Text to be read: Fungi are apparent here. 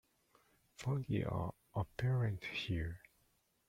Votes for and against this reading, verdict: 0, 2, rejected